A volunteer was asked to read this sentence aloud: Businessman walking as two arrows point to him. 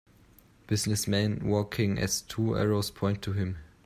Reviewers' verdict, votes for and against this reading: accepted, 2, 0